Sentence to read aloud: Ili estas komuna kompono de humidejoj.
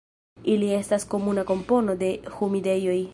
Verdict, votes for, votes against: rejected, 0, 2